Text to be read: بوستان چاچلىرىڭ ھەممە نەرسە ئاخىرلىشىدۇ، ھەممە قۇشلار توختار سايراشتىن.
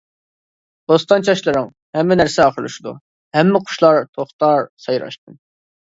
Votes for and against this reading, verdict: 2, 0, accepted